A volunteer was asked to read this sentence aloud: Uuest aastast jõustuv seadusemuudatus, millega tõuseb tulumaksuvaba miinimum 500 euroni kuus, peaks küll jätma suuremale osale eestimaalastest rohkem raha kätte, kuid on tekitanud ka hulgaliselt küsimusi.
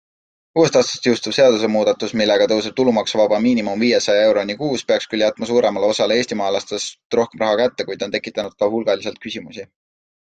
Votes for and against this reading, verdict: 0, 2, rejected